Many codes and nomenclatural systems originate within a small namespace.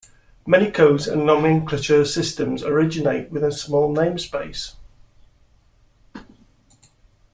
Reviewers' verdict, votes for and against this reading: accepted, 2, 0